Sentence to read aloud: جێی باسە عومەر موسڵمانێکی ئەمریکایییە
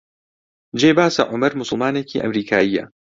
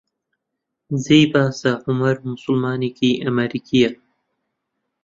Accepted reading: first